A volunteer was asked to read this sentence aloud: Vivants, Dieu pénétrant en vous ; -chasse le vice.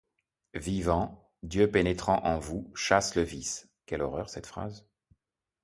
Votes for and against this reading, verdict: 1, 2, rejected